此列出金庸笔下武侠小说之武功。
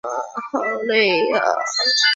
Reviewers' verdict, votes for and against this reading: rejected, 0, 2